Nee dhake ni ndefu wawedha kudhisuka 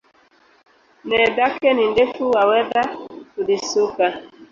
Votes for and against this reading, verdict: 1, 2, rejected